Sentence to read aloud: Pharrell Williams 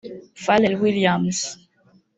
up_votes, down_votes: 1, 3